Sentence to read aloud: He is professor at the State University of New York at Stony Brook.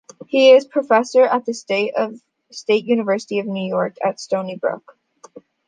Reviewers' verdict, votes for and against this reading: rejected, 1, 2